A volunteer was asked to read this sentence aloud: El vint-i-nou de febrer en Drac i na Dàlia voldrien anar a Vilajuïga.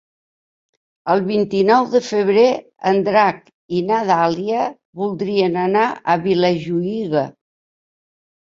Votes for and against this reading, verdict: 2, 0, accepted